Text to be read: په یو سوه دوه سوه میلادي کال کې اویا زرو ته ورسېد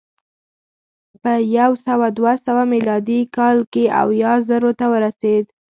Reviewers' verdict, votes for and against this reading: accepted, 2, 0